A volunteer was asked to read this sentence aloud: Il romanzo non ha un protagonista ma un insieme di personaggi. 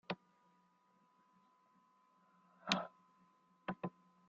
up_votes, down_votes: 0, 2